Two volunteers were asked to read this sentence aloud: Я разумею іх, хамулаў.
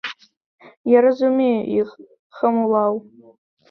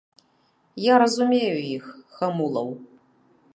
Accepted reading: second